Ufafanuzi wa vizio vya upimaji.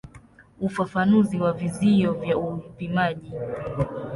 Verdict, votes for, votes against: accepted, 2, 0